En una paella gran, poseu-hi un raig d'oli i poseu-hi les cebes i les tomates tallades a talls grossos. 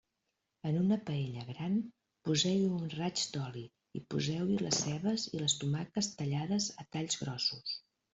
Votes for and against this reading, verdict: 2, 1, accepted